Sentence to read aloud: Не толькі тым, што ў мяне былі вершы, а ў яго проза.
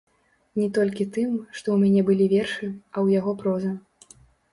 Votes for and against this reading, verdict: 0, 2, rejected